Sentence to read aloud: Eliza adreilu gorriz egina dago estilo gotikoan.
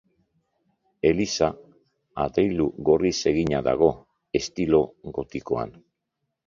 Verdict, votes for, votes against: accepted, 5, 0